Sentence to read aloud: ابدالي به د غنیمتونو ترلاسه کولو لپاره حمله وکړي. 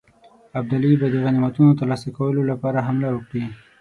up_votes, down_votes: 18, 0